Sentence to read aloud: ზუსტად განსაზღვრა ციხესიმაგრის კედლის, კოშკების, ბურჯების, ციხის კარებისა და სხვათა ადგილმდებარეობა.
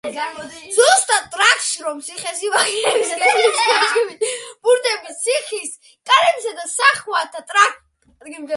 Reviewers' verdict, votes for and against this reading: rejected, 0, 2